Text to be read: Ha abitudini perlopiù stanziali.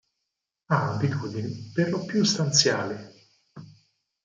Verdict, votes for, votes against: rejected, 2, 4